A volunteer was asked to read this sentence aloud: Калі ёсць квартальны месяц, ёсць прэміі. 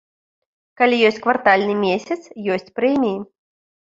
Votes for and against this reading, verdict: 2, 0, accepted